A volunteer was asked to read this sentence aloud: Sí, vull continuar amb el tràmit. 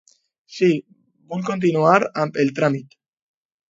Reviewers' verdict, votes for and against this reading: accepted, 2, 0